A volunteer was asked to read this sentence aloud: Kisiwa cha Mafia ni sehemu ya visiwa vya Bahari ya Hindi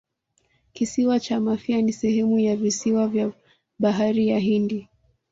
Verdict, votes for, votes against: accepted, 2, 1